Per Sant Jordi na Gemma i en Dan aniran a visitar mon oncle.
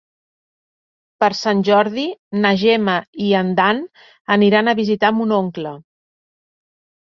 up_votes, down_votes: 3, 0